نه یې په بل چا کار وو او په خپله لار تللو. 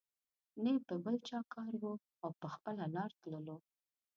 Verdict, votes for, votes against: rejected, 1, 2